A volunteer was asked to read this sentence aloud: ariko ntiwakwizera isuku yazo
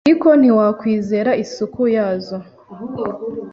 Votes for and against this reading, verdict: 2, 0, accepted